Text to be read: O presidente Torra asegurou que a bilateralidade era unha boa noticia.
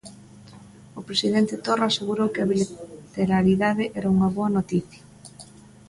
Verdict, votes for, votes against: rejected, 0, 2